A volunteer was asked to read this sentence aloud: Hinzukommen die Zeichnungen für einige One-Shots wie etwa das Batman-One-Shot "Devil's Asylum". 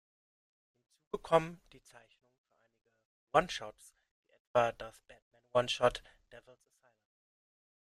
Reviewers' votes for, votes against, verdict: 0, 2, rejected